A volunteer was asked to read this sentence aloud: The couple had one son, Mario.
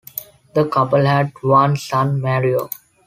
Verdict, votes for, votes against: accepted, 2, 0